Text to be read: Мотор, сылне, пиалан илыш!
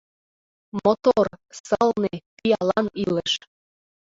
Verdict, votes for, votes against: rejected, 1, 2